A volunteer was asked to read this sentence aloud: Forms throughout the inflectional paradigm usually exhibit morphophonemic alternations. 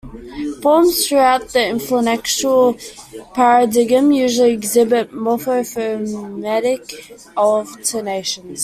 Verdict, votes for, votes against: rejected, 1, 2